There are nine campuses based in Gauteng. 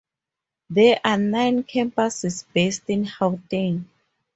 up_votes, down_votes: 2, 2